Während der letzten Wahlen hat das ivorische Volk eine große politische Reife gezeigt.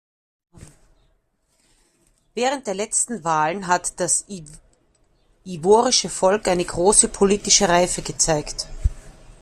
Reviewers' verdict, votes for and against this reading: rejected, 1, 2